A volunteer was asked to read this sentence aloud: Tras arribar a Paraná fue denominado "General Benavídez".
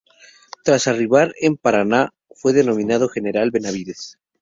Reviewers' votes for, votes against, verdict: 0, 2, rejected